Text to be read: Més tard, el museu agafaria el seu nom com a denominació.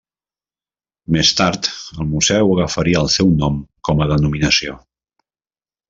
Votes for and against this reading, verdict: 1, 2, rejected